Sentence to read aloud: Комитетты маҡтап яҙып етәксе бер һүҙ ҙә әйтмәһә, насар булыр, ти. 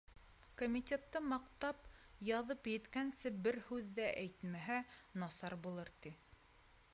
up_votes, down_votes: 1, 2